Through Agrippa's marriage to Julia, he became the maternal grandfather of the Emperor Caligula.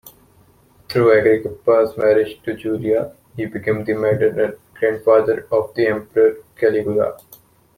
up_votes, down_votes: 0, 2